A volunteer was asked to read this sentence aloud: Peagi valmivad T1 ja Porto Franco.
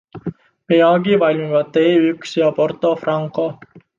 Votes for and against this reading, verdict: 0, 2, rejected